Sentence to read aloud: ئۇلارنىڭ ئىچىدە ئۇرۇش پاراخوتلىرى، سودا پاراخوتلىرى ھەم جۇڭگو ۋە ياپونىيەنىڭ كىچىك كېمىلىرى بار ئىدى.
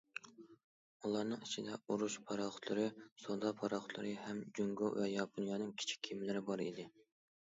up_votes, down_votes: 2, 0